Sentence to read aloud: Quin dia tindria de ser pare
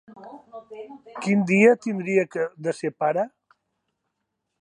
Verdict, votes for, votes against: rejected, 1, 2